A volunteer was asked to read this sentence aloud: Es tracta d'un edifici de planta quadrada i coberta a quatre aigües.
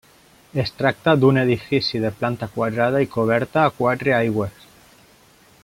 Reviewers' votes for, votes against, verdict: 3, 0, accepted